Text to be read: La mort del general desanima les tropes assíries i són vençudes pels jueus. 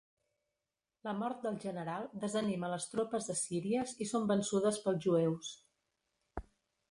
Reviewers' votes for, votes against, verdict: 2, 1, accepted